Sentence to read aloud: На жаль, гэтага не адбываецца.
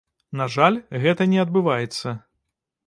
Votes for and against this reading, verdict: 0, 2, rejected